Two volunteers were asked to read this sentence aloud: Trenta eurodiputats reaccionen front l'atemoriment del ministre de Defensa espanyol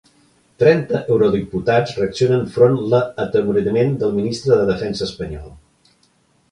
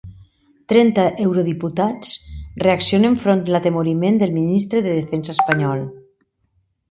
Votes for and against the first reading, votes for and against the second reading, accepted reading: 0, 2, 2, 1, second